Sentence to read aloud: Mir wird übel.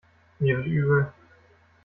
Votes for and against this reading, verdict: 0, 2, rejected